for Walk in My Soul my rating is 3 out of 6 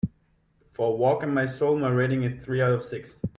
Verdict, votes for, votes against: rejected, 0, 2